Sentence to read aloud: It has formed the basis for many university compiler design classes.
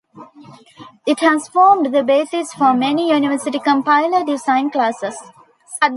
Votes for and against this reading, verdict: 0, 2, rejected